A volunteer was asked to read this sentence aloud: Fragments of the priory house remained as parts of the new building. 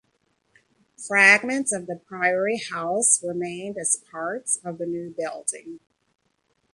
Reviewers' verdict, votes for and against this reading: accepted, 2, 0